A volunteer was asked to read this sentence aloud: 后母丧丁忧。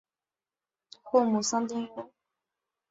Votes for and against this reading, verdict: 2, 0, accepted